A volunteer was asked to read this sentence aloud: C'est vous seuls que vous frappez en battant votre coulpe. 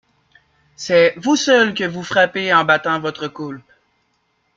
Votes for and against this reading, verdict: 2, 1, accepted